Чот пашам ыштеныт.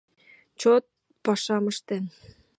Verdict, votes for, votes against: rejected, 0, 2